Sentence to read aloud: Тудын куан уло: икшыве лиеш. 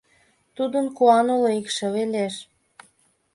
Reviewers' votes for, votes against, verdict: 2, 0, accepted